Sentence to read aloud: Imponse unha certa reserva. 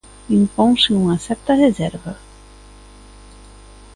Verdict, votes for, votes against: accepted, 2, 0